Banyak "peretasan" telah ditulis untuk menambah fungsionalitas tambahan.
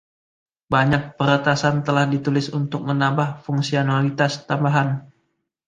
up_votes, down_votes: 2, 1